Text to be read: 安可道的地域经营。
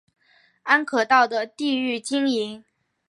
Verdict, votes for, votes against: accepted, 2, 0